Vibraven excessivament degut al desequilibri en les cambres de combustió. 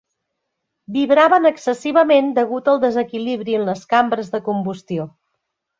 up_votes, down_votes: 3, 0